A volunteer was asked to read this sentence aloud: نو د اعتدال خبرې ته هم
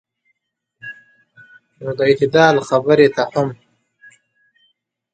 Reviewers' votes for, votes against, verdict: 1, 2, rejected